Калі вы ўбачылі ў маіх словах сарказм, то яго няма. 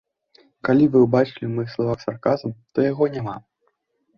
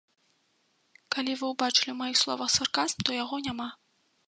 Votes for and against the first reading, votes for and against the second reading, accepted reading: 1, 2, 2, 0, second